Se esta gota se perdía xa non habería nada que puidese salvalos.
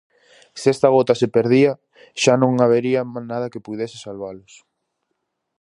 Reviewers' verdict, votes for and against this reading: rejected, 0, 4